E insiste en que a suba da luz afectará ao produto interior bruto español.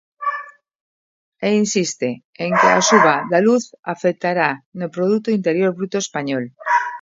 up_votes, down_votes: 0, 2